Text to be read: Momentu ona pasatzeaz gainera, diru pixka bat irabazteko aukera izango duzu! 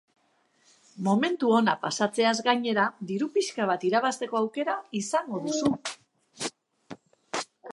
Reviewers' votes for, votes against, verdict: 2, 2, rejected